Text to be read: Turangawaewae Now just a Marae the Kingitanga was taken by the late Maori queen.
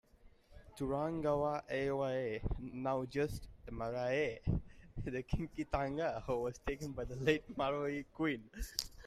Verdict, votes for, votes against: accepted, 2, 1